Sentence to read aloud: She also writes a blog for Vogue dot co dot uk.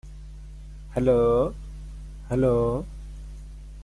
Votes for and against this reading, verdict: 0, 2, rejected